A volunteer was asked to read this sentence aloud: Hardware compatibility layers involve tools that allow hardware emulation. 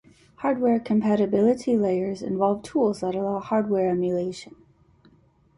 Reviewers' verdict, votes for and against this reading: accepted, 2, 0